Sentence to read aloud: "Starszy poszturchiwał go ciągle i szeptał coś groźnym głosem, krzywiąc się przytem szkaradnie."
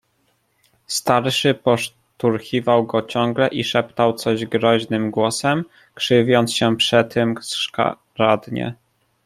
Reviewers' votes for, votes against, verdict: 0, 2, rejected